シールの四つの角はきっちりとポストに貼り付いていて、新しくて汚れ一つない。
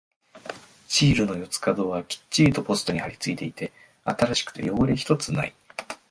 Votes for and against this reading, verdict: 2, 4, rejected